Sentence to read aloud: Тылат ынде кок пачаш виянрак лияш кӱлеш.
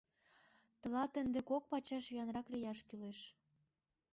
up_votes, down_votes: 2, 0